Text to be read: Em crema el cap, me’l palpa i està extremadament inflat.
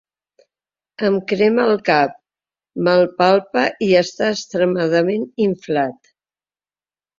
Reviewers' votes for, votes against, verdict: 2, 1, accepted